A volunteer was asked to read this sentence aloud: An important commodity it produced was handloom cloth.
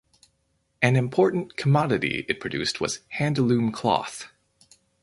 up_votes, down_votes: 2, 2